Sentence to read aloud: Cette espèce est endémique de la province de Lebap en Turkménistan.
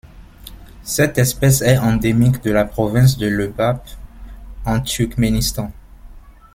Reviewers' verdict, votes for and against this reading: rejected, 1, 2